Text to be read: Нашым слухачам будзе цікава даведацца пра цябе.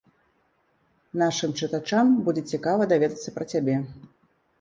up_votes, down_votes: 0, 2